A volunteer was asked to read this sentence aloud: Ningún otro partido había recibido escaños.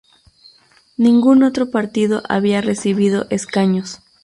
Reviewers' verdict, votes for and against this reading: rejected, 0, 2